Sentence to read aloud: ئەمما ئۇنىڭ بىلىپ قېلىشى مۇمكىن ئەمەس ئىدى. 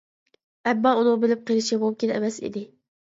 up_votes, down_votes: 2, 0